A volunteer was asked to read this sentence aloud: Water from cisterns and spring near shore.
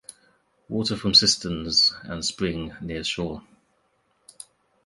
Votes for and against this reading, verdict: 2, 0, accepted